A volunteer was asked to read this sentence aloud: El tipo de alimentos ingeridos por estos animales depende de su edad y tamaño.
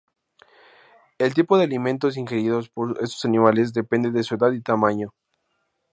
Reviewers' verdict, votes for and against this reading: accepted, 2, 0